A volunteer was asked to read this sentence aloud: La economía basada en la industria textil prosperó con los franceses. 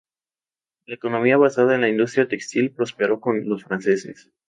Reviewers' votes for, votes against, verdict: 4, 0, accepted